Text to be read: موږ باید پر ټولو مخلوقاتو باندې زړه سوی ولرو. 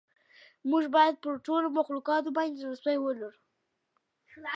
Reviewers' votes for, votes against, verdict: 2, 0, accepted